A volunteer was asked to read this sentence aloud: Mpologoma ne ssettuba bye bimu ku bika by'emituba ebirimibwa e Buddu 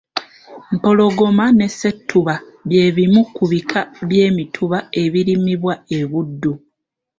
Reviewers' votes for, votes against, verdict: 2, 0, accepted